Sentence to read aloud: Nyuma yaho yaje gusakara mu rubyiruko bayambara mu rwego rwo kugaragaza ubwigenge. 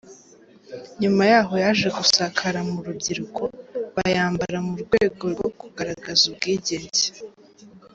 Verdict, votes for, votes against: accepted, 2, 0